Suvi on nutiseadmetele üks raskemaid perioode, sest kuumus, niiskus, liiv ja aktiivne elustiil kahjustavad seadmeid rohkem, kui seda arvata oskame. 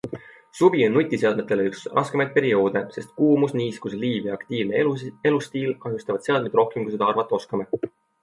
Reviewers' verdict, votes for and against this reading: accepted, 2, 1